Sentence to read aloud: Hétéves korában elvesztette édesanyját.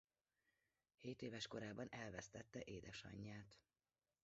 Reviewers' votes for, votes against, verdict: 1, 2, rejected